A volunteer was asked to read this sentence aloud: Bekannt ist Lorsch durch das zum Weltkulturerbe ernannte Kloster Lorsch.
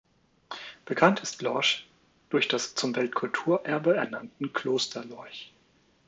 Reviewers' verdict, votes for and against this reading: rejected, 1, 2